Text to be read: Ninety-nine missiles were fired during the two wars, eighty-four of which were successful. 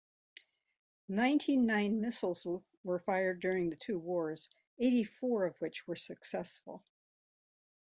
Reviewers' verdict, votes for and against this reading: accepted, 2, 1